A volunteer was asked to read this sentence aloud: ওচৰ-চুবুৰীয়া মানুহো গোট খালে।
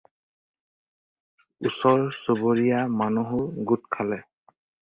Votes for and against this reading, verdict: 4, 0, accepted